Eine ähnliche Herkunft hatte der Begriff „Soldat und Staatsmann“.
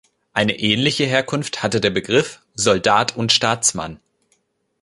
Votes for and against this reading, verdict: 2, 0, accepted